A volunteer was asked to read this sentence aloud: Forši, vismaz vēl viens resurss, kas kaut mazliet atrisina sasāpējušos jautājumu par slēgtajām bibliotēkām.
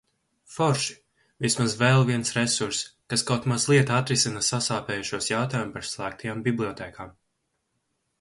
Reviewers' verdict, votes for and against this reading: accepted, 6, 0